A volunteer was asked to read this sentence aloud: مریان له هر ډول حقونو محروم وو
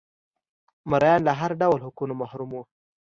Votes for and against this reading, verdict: 2, 0, accepted